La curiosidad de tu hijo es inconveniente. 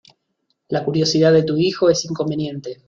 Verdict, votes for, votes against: accepted, 2, 0